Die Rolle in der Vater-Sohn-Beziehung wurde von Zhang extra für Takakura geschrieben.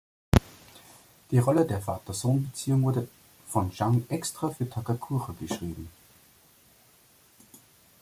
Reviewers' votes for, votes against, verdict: 1, 2, rejected